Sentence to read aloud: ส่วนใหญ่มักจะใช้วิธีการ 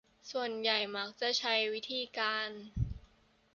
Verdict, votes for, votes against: accepted, 2, 0